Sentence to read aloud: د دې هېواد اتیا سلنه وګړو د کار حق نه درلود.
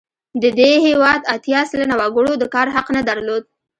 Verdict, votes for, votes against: accepted, 2, 0